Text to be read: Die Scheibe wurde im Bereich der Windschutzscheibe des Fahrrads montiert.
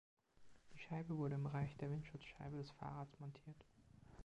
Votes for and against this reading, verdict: 4, 1, accepted